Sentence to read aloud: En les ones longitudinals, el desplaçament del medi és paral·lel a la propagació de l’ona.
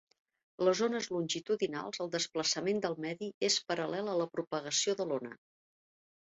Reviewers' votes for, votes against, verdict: 1, 2, rejected